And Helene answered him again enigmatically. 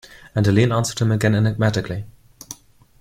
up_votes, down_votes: 3, 1